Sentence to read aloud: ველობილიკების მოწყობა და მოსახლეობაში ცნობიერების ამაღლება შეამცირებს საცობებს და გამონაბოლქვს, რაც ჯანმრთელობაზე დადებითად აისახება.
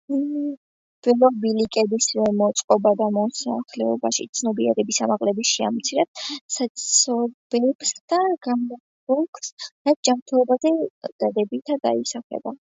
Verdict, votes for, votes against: accepted, 2, 1